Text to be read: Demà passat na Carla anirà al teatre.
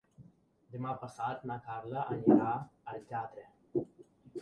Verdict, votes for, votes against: accepted, 2, 0